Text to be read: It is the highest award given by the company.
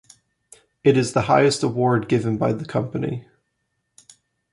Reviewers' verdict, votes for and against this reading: accepted, 2, 0